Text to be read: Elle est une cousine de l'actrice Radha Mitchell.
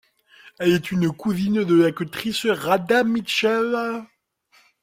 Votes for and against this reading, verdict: 2, 0, accepted